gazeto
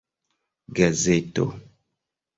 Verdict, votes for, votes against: accepted, 2, 0